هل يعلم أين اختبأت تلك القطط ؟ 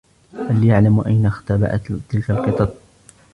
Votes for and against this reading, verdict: 2, 1, accepted